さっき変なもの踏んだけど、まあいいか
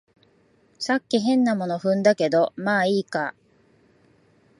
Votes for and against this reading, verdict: 2, 0, accepted